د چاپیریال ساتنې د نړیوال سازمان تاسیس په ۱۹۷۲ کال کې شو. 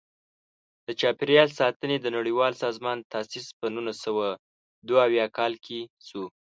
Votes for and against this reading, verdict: 0, 2, rejected